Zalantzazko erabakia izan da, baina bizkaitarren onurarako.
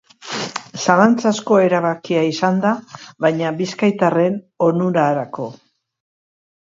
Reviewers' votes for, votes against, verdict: 3, 0, accepted